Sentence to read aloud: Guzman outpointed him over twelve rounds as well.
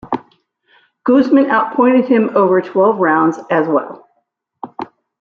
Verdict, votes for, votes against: rejected, 1, 2